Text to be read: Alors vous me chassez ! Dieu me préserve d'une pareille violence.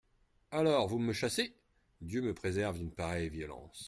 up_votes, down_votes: 2, 0